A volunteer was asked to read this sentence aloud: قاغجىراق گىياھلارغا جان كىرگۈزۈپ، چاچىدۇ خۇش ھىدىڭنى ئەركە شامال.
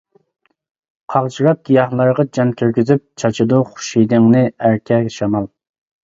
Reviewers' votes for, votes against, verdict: 2, 1, accepted